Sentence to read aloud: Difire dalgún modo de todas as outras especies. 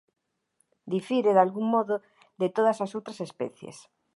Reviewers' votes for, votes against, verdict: 2, 0, accepted